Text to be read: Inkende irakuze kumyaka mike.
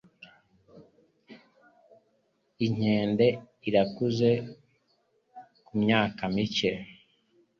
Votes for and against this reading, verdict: 2, 0, accepted